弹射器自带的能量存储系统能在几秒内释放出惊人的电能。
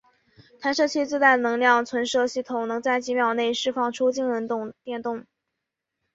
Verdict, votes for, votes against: accepted, 2, 1